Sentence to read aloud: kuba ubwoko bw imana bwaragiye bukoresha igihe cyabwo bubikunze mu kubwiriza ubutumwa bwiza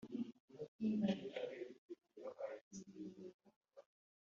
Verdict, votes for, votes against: rejected, 1, 2